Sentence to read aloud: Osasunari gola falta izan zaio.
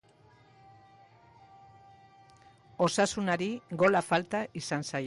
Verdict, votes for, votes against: rejected, 1, 2